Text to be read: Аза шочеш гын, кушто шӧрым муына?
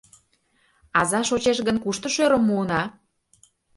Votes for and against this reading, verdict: 2, 0, accepted